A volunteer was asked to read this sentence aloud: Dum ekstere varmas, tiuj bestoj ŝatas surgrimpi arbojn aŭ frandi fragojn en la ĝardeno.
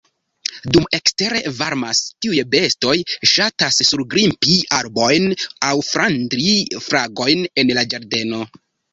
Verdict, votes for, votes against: rejected, 0, 2